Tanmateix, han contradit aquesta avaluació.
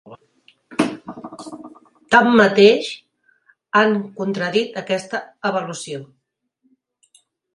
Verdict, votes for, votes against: accepted, 4, 1